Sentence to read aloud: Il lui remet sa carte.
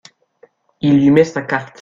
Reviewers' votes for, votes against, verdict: 0, 2, rejected